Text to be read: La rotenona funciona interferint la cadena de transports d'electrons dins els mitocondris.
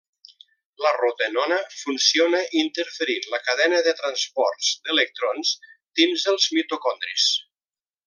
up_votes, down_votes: 2, 0